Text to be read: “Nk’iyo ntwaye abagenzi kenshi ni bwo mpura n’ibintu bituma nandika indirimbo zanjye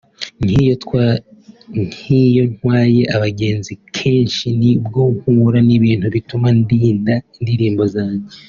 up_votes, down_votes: 0, 3